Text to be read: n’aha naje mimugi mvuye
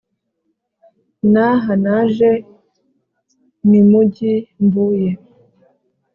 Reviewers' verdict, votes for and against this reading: accepted, 2, 0